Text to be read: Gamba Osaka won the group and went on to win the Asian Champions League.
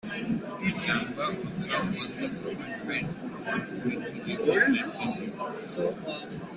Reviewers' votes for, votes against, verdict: 0, 2, rejected